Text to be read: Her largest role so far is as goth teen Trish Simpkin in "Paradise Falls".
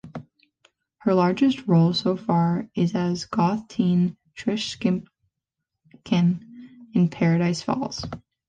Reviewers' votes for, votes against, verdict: 0, 2, rejected